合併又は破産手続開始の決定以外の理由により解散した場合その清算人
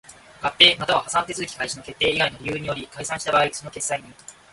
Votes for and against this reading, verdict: 1, 2, rejected